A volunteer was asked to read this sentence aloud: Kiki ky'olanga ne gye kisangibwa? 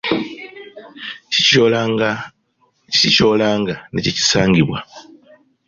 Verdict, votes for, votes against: rejected, 0, 2